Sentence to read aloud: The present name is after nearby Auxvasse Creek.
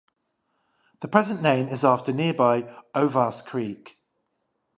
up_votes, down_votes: 0, 5